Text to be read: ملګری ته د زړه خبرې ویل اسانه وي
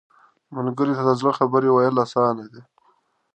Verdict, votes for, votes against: accepted, 2, 1